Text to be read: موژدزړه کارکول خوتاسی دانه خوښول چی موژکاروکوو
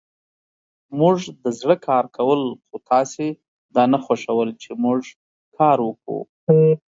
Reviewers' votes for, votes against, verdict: 2, 0, accepted